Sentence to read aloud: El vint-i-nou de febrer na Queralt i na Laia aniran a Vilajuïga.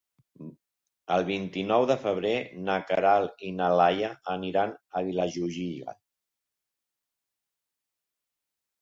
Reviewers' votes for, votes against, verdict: 1, 2, rejected